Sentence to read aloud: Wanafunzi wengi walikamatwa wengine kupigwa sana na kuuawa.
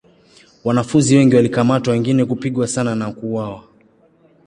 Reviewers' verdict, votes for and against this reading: accepted, 2, 0